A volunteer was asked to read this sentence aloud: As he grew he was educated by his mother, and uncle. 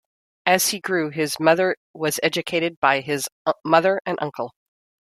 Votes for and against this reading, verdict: 0, 2, rejected